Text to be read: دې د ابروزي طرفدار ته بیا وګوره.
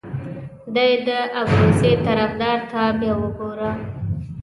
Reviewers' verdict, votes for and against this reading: accepted, 2, 0